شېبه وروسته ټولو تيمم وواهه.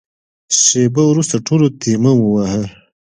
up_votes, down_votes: 2, 0